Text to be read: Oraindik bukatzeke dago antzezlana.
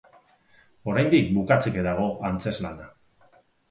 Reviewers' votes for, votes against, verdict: 4, 0, accepted